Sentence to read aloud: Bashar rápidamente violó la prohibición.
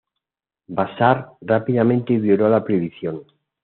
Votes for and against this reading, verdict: 2, 0, accepted